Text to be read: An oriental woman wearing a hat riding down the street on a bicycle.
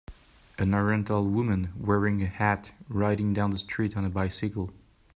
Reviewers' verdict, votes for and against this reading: rejected, 0, 2